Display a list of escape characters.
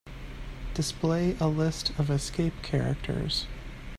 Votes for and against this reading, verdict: 2, 0, accepted